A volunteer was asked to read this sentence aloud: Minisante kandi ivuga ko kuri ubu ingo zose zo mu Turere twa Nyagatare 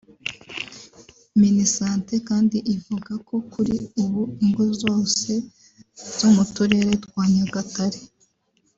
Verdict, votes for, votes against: accepted, 4, 0